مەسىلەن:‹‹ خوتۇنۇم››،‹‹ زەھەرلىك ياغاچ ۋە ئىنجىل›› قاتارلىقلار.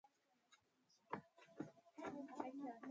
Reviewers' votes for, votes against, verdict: 0, 2, rejected